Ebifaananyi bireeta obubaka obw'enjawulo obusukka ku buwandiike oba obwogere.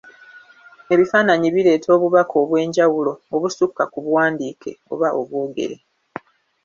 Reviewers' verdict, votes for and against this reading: accepted, 2, 0